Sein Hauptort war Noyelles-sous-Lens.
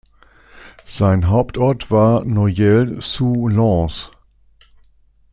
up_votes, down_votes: 2, 0